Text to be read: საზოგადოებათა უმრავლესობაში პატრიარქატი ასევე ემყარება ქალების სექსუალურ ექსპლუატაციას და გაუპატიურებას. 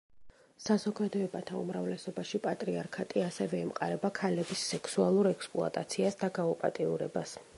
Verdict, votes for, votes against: accepted, 3, 0